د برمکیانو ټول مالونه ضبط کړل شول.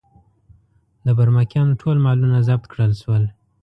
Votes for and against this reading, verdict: 2, 0, accepted